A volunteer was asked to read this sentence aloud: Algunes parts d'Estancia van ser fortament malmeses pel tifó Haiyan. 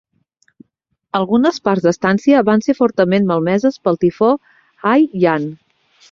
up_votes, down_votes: 1, 2